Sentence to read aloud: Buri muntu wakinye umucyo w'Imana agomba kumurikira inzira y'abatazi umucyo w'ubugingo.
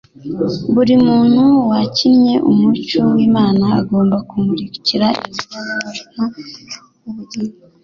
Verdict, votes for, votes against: rejected, 2, 3